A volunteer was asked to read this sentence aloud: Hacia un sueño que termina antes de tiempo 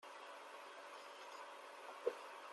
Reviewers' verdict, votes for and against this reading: rejected, 0, 2